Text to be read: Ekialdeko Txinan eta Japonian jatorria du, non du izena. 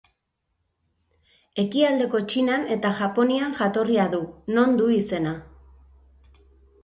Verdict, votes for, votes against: accepted, 3, 0